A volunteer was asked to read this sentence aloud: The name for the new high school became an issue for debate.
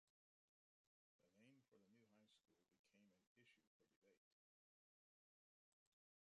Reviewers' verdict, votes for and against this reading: rejected, 0, 2